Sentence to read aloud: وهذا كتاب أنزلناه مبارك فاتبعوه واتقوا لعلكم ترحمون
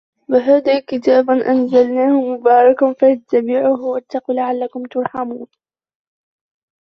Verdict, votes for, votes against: rejected, 1, 2